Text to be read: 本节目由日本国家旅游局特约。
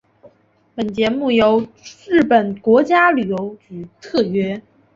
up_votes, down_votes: 3, 0